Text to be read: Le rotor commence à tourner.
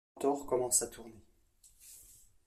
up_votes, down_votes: 0, 2